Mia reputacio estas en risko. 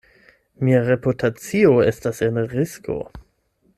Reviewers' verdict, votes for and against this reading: rejected, 4, 8